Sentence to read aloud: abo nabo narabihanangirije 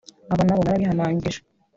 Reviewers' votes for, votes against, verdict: 0, 2, rejected